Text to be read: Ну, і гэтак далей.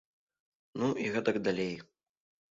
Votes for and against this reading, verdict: 2, 0, accepted